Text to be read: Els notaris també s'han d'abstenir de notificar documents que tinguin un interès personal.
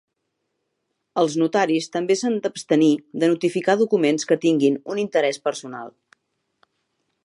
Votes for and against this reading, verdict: 3, 0, accepted